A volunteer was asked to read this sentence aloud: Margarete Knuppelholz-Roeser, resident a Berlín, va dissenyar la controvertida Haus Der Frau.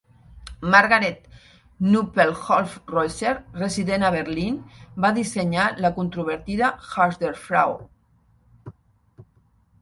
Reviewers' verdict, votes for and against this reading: rejected, 0, 2